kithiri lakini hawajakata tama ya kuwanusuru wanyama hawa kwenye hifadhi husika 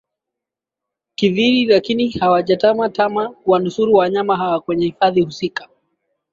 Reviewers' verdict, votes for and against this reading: rejected, 1, 2